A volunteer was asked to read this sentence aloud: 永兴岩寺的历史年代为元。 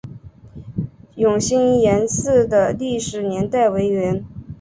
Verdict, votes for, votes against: accepted, 2, 0